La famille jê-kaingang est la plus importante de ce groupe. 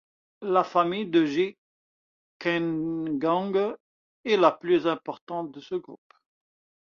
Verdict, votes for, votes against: rejected, 1, 2